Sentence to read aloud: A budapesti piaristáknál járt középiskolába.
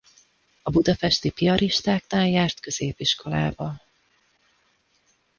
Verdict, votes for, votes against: rejected, 1, 2